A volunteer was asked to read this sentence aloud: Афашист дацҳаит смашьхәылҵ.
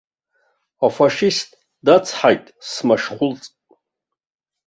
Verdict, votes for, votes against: rejected, 1, 2